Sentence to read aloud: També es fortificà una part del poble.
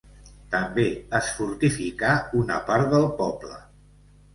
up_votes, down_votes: 2, 0